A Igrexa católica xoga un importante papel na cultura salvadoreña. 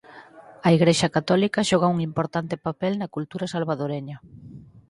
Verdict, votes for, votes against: accepted, 4, 0